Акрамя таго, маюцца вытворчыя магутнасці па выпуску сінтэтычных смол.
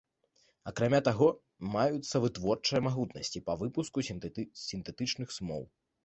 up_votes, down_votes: 1, 2